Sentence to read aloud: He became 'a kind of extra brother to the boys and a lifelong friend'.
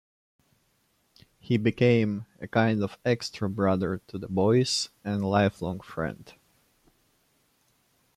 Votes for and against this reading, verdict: 2, 1, accepted